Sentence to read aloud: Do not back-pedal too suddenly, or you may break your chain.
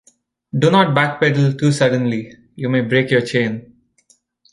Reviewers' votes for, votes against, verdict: 1, 2, rejected